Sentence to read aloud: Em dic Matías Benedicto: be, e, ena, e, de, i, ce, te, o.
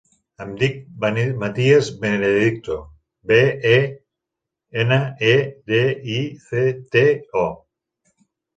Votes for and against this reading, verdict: 0, 4, rejected